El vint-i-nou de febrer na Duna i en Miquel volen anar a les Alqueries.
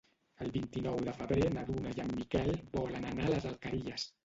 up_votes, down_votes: 1, 2